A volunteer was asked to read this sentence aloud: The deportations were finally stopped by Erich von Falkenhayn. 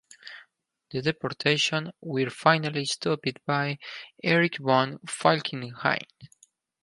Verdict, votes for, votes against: rejected, 0, 2